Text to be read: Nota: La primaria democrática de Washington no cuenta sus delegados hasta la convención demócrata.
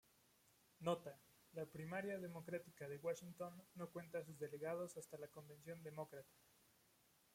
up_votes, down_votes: 0, 2